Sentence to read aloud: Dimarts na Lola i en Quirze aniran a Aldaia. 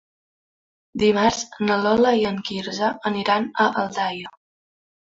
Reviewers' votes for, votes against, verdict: 4, 0, accepted